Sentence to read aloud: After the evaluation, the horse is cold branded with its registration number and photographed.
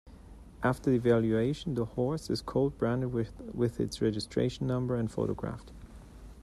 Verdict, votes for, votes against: rejected, 1, 2